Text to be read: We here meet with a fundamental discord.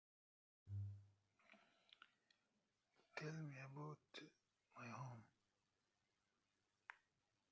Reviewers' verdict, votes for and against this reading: rejected, 0, 2